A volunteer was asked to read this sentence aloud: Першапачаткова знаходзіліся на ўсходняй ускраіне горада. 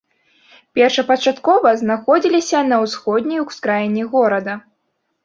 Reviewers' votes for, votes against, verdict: 4, 0, accepted